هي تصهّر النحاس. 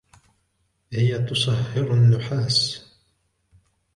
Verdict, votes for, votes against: rejected, 1, 2